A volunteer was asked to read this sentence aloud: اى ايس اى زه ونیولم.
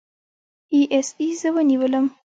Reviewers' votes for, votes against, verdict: 1, 2, rejected